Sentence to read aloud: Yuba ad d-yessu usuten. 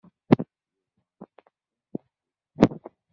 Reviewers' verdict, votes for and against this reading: rejected, 0, 2